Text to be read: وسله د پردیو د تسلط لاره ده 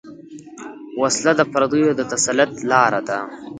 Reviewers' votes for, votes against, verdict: 1, 2, rejected